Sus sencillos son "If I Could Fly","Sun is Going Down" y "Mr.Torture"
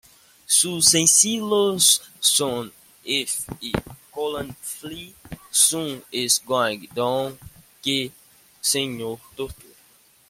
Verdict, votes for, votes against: rejected, 0, 2